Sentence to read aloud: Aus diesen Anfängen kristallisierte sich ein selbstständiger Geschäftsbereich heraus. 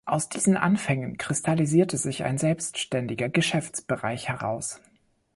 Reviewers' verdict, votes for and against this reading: accepted, 2, 0